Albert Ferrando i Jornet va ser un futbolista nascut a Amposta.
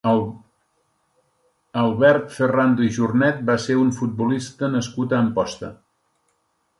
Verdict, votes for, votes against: rejected, 3, 4